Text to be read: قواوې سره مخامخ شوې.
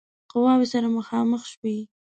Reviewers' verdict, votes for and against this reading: rejected, 1, 2